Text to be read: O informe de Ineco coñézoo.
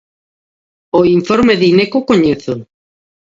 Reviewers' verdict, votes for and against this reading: accepted, 2, 0